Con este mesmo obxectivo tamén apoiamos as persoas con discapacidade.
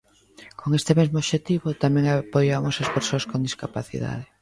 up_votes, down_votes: 2, 0